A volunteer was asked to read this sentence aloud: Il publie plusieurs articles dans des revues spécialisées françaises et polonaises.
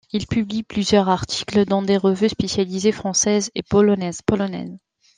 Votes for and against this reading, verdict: 0, 2, rejected